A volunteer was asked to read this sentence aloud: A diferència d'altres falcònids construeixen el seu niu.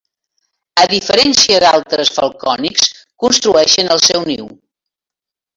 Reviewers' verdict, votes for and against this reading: accepted, 2, 1